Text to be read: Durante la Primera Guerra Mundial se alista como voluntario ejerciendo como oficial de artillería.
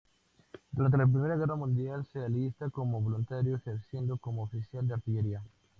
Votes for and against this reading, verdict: 4, 0, accepted